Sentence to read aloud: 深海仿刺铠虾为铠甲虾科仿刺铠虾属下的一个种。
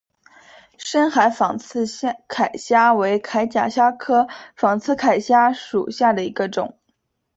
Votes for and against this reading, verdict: 0, 2, rejected